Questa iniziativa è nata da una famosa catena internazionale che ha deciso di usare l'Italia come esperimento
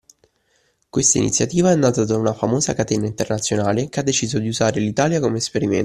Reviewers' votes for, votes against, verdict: 1, 2, rejected